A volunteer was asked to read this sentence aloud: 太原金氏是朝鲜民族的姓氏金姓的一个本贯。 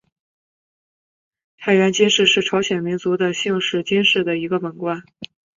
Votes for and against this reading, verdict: 3, 0, accepted